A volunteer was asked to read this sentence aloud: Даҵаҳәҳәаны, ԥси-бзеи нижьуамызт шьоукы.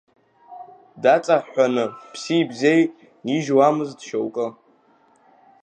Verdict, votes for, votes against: accepted, 2, 0